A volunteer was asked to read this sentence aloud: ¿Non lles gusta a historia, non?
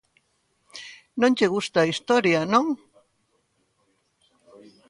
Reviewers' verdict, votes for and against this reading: rejected, 0, 3